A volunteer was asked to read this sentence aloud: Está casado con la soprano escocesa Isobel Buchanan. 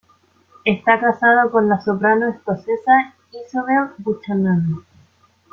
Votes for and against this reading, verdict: 3, 0, accepted